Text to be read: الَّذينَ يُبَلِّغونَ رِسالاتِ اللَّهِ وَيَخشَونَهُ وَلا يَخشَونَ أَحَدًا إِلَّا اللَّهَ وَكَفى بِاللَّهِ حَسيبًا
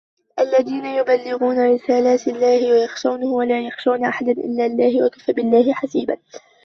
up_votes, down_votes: 0, 2